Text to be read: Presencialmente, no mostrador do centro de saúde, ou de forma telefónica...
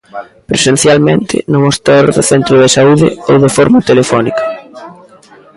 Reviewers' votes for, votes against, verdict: 0, 2, rejected